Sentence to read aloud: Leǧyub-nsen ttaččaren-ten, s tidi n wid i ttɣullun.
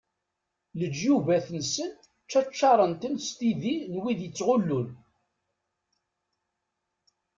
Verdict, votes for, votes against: rejected, 1, 2